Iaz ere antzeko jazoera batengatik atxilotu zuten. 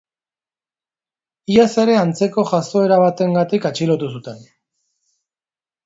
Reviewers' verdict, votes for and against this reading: accepted, 2, 0